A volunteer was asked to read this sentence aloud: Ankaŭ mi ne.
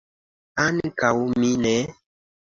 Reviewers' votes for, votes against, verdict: 2, 0, accepted